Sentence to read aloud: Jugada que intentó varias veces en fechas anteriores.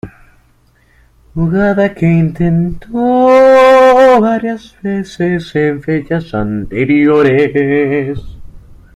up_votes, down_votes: 0, 2